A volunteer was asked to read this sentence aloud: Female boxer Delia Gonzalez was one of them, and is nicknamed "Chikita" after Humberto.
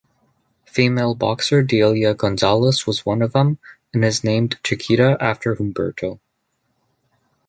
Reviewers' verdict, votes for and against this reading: rejected, 0, 2